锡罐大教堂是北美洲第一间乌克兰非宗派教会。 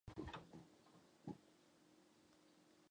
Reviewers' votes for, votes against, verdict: 1, 2, rejected